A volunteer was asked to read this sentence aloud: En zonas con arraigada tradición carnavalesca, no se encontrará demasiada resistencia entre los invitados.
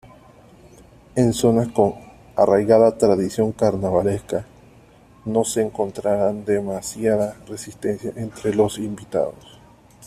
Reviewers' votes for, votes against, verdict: 0, 2, rejected